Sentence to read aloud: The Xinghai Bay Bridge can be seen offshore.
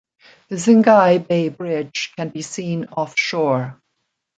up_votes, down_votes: 2, 0